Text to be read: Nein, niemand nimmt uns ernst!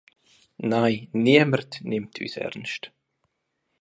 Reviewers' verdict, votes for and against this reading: accepted, 2, 1